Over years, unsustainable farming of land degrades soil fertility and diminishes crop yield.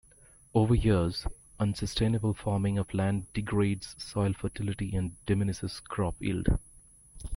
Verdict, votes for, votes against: accepted, 2, 0